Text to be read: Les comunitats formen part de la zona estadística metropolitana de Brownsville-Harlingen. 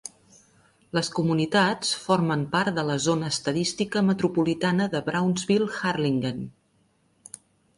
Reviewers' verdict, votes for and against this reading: accepted, 2, 0